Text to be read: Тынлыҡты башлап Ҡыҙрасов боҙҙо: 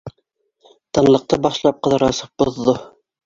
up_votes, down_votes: 0, 2